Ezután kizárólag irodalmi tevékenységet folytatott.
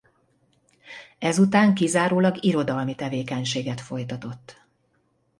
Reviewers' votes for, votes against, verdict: 2, 0, accepted